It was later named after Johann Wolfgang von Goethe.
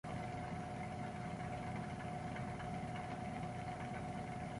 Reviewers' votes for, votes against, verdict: 0, 2, rejected